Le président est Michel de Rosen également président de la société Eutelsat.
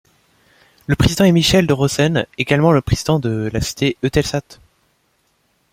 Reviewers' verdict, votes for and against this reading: rejected, 1, 2